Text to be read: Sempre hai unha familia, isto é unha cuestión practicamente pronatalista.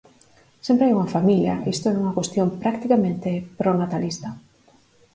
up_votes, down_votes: 4, 0